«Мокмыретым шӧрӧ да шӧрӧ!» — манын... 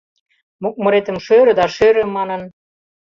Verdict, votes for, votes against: accepted, 2, 0